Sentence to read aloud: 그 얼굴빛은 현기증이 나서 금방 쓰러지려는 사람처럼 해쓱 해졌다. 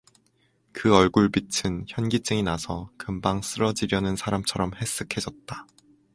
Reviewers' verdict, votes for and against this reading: accepted, 2, 0